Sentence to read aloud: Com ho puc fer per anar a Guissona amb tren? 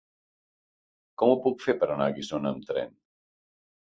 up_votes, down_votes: 3, 0